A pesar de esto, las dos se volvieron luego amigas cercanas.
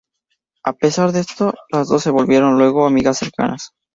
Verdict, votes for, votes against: rejected, 0, 2